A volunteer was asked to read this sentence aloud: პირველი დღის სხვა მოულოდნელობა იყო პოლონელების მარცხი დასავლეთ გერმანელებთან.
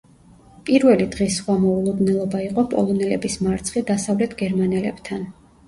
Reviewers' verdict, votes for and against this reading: rejected, 1, 2